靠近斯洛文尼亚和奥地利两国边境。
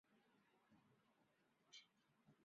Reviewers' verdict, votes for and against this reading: rejected, 0, 4